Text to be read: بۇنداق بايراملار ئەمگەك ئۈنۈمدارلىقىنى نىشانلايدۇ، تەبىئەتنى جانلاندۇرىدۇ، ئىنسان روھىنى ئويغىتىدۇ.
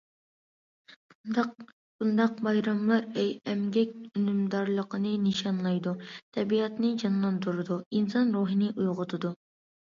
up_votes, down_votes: 2, 0